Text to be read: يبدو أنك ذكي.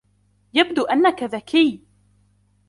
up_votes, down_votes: 2, 0